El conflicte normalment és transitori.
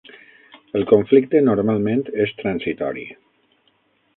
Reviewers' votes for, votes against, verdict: 9, 0, accepted